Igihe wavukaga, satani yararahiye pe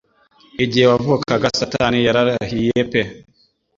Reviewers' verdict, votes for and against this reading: accepted, 2, 0